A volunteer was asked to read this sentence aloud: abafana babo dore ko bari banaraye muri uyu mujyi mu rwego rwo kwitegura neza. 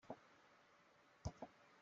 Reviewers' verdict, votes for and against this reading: rejected, 0, 2